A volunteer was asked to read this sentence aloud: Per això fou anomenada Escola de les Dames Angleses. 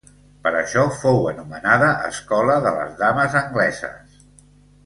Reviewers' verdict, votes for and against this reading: accepted, 2, 1